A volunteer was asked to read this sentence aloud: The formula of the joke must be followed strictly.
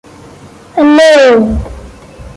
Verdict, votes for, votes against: rejected, 0, 2